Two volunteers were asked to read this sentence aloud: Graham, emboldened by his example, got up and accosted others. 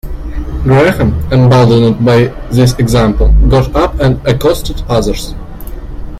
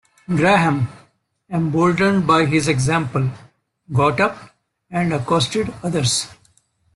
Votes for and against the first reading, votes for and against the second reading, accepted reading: 0, 2, 2, 0, second